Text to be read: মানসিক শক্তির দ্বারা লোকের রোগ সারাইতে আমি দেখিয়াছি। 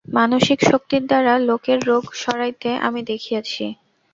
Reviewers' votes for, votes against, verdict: 0, 2, rejected